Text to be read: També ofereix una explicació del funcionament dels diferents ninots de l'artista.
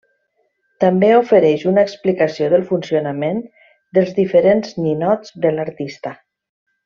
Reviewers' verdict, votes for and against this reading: accepted, 3, 0